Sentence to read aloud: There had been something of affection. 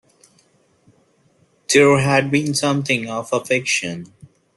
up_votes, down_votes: 2, 1